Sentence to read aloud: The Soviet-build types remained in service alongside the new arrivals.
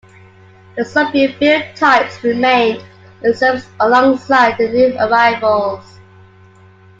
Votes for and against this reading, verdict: 2, 0, accepted